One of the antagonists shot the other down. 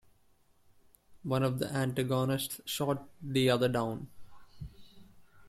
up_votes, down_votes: 0, 2